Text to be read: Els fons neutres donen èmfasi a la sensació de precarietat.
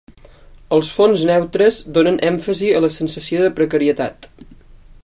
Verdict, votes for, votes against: accepted, 3, 0